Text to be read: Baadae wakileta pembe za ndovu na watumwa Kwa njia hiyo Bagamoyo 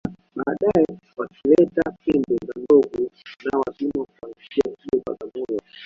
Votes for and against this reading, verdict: 1, 2, rejected